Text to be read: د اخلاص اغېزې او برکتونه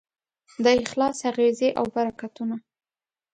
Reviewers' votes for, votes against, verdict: 2, 0, accepted